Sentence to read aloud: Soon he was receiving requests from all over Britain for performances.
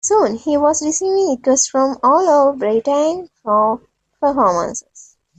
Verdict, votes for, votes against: rejected, 0, 2